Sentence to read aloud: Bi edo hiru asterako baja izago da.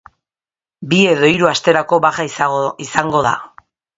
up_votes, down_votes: 0, 3